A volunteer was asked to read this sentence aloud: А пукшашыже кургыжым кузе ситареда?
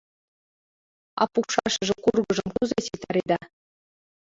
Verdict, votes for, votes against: rejected, 0, 2